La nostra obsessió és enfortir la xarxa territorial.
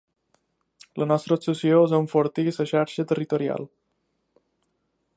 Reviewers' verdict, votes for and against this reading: accepted, 2, 1